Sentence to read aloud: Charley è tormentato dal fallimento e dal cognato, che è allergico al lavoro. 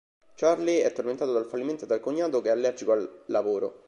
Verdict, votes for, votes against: rejected, 0, 2